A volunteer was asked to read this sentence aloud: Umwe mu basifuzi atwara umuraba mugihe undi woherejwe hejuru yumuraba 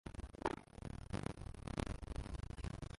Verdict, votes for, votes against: rejected, 0, 2